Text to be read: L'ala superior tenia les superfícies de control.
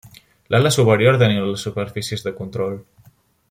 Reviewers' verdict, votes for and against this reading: rejected, 1, 2